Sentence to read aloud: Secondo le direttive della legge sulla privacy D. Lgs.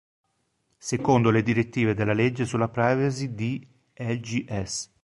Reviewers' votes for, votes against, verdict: 1, 3, rejected